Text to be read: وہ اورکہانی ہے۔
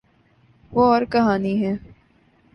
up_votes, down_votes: 2, 0